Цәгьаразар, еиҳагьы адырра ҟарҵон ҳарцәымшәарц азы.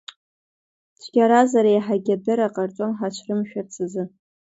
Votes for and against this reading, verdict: 2, 1, accepted